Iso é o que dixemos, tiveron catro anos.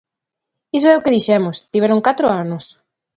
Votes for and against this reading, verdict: 2, 0, accepted